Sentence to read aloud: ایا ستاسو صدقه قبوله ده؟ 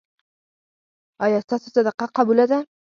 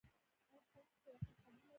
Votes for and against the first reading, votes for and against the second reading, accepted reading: 4, 0, 1, 2, first